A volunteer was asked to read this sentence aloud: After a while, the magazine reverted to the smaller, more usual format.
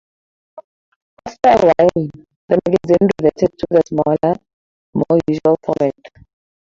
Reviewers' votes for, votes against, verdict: 0, 4, rejected